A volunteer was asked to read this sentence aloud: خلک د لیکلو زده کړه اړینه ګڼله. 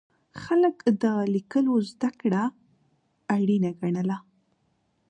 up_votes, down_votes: 2, 0